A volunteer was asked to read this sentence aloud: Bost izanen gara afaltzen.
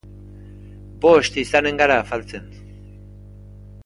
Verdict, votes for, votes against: accepted, 3, 1